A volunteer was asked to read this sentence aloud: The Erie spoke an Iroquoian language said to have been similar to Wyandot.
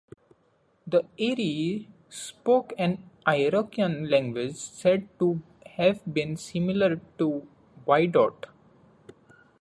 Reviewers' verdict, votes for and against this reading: rejected, 0, 2